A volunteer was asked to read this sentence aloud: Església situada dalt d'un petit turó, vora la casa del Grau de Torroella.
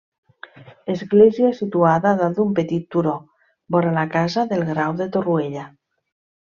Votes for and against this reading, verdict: 2, 0, accepted